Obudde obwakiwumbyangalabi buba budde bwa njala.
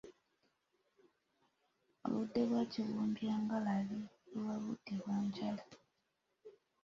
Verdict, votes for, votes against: accepted, 2, 1